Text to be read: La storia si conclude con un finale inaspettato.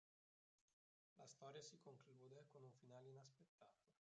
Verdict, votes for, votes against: rejected, 0, 2